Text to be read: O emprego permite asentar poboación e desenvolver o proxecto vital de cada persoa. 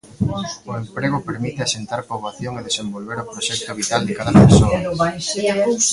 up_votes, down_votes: 0, 2